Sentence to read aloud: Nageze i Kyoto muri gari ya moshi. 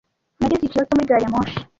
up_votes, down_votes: 1, 2